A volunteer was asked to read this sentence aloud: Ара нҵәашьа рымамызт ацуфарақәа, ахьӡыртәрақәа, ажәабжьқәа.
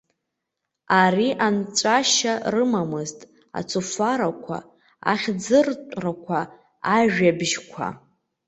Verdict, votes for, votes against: rejected, 0, 2